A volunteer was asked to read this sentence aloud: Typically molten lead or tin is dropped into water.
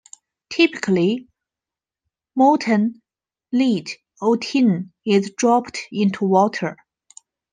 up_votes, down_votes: 1, 2